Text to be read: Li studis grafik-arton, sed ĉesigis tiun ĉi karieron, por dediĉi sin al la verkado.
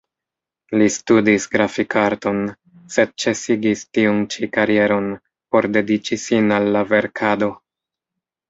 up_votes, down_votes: 2, 0